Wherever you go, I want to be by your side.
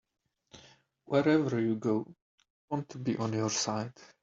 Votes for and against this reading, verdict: 0, 2, rejected